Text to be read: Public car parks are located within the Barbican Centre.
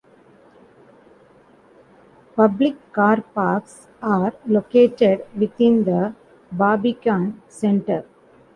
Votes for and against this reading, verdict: 0, 2, rejected